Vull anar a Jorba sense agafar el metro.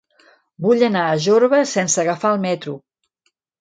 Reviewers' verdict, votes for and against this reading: accepted, 2, 0